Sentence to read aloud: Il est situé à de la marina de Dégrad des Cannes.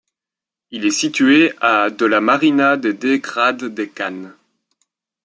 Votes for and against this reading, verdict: 0, 2, rejected